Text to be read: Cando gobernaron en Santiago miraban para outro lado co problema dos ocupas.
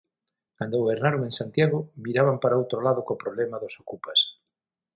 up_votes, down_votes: 6, 0